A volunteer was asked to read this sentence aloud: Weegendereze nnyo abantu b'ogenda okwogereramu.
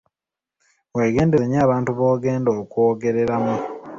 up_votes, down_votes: 0, 2